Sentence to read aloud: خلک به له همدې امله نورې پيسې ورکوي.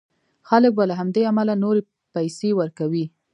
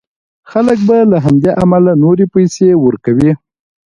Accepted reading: second